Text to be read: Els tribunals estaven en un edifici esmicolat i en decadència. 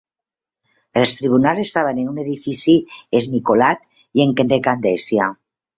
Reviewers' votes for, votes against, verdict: 1, 2, rejected